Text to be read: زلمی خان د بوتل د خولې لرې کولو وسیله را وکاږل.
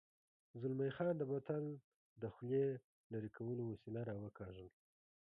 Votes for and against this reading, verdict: 0, 2, rejected